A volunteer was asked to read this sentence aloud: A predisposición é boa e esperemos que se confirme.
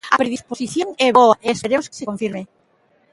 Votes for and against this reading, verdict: 0, 2, rejected